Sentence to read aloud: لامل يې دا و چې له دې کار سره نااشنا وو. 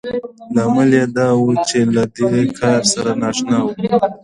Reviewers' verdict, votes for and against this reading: accepted, 2, 1